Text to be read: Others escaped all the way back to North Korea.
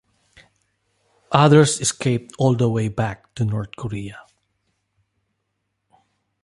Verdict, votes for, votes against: accepted, 2, 0